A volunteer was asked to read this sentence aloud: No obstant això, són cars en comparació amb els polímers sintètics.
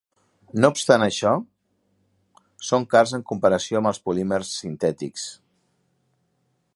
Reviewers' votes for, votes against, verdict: 3, 0, accepted